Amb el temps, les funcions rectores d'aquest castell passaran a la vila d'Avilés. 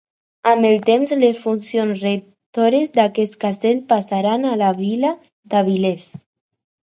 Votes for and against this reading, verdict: 4, 0, accepted